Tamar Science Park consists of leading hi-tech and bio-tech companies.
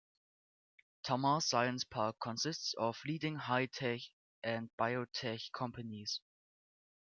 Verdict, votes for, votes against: rejected, 0, 2